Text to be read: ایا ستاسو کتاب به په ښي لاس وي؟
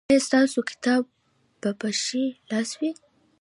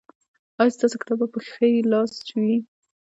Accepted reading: first